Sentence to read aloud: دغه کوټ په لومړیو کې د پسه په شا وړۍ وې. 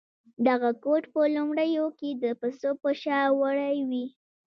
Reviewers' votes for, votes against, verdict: 0, 2, rejected